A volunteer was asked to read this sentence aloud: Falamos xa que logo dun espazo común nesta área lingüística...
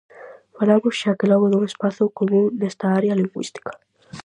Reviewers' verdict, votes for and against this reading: rejected, 2, 2